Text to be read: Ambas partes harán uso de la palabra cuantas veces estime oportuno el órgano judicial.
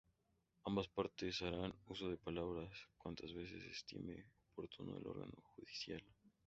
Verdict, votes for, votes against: rejected, 0, 2